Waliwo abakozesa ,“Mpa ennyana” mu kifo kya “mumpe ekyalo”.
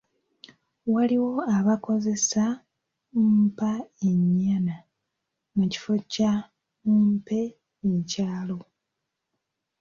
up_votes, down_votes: 2, 0